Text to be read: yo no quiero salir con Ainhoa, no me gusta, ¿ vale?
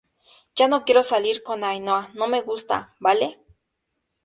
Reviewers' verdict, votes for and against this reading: accepted, 2, 0